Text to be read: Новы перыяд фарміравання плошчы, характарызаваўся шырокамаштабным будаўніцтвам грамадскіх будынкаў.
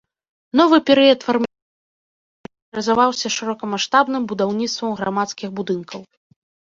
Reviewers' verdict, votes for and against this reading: rejected, 0, 2